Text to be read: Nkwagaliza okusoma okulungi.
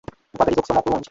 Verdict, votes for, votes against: rejected, 0, 2